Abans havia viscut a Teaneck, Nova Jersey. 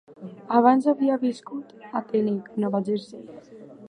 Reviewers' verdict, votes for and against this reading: accepted, 2, 1